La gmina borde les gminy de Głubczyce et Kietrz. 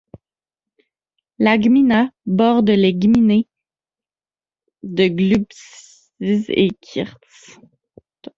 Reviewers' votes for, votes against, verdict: 1, 2, rejected